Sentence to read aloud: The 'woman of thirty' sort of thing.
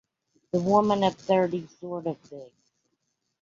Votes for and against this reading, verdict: 2, 1, accepted